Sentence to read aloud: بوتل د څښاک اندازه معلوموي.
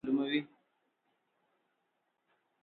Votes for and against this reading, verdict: 0, 4, rejected